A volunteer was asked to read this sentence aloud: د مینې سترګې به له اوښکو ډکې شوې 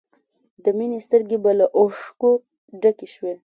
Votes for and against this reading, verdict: 2, 0, accepted